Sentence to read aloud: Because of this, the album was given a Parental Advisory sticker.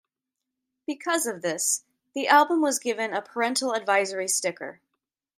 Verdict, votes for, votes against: accepted, 2, 0